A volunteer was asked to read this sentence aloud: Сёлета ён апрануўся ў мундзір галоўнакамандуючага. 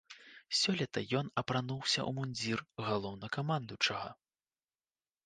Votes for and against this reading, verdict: 0, 2, rejected